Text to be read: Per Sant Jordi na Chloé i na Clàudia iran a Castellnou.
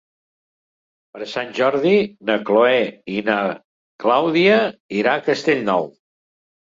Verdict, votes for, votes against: rejected, 0, 2